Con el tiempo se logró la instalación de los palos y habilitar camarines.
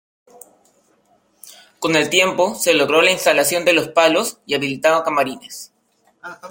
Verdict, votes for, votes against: rejected, 0, 2